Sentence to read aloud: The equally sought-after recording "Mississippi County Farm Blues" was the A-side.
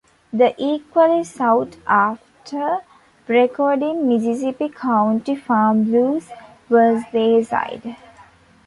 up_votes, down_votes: 0, 2